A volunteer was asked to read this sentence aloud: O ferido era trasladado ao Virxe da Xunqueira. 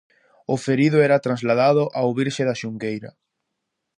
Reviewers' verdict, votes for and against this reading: accepted, 2, 0